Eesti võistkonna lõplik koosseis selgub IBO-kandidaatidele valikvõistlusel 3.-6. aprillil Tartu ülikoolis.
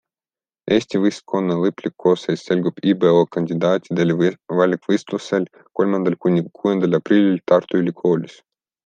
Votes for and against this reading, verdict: 0, 2, rejected